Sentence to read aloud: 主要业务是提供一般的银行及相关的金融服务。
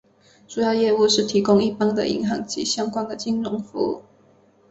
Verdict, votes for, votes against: rejected, 1, 2